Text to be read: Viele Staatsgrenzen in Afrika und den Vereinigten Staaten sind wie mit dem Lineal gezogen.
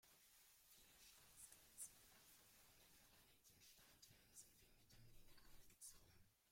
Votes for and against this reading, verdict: 0, 2, rejected